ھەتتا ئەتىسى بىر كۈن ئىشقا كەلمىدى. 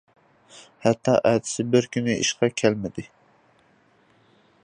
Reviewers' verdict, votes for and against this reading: accepted, 2, 0